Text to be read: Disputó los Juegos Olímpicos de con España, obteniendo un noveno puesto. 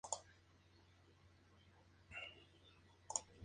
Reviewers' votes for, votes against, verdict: 0, 2, rejected